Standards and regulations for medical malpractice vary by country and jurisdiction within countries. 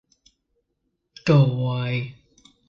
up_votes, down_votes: 0, 2